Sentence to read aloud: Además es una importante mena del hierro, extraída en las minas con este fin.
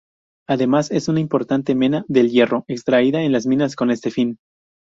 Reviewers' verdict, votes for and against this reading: accepted, 4, 0